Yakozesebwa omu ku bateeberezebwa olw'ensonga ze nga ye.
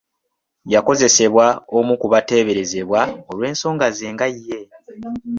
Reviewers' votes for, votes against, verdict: 2, 0, accepted